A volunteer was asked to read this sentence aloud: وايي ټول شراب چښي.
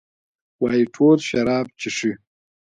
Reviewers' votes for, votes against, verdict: 2, 0, accepted